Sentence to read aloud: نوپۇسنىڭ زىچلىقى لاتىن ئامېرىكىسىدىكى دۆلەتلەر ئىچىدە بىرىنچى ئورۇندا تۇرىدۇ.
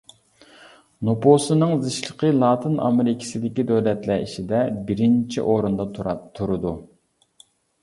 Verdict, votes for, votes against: rejected, 0, 2